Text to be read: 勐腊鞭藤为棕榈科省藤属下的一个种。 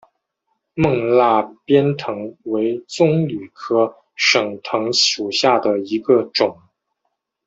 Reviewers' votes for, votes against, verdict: 2, 0, accepted